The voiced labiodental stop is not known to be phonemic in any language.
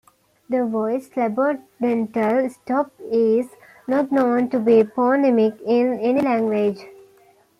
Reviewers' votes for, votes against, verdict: 2, 0, accepted